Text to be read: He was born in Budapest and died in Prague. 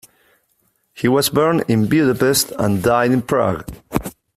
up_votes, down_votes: 2, 0